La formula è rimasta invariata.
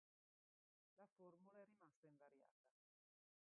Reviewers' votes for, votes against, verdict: 0, 2, rejected